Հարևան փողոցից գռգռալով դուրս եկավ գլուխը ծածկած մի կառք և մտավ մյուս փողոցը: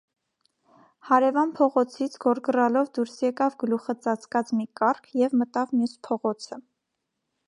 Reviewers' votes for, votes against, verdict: 1, 2, rejected